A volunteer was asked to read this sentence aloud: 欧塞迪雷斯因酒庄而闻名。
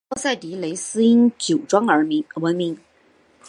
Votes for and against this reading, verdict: 4, 1, accepted